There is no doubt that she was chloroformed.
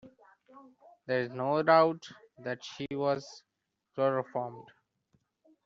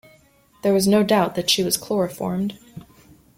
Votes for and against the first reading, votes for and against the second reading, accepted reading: 0, 2, 2, 1, second